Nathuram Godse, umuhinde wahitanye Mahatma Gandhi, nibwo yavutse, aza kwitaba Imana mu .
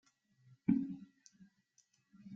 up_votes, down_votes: 0, 2